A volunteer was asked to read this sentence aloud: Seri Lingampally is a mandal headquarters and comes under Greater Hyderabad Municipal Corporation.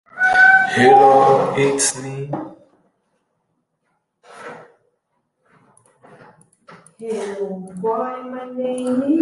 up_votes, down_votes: 0, 2